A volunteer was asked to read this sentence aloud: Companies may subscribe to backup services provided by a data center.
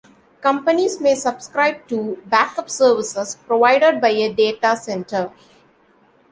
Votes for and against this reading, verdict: 3, 0, accepted